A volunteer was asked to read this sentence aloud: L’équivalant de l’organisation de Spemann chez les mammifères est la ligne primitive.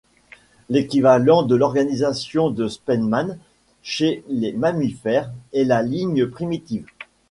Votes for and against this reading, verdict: 1, 2, rejected